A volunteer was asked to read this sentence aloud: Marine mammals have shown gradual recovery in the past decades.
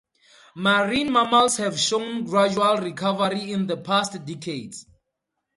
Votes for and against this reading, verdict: 4, 2, accepted